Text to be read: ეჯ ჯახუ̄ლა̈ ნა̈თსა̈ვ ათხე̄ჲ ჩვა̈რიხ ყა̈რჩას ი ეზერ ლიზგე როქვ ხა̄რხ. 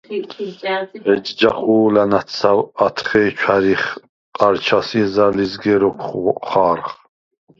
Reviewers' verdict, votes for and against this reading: rejected, 0, 4